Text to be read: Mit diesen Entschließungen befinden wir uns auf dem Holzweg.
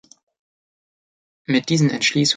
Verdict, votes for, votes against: rejected, 0, 2